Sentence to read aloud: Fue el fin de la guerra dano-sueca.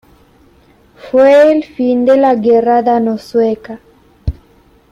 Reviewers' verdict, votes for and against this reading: accepted, 2, 0